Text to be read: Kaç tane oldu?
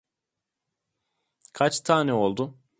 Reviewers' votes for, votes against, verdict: 2, 0, accepted